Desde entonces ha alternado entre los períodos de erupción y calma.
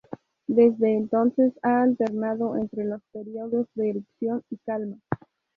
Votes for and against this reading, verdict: 2, 0, accepted